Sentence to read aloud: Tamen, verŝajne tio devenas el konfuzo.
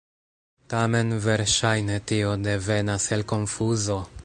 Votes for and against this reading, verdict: 1, 2, rejected